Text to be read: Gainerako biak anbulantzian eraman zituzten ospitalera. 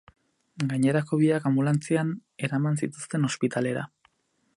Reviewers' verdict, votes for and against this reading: rejected, 0, 2